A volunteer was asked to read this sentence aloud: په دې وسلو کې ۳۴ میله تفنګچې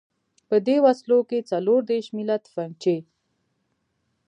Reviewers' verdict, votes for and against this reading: rejected, 0, 2